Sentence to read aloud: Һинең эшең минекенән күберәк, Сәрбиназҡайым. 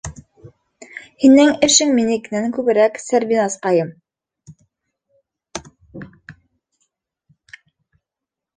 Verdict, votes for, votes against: accepted, 2, 1